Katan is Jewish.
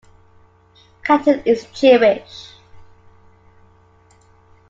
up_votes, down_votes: 2, 0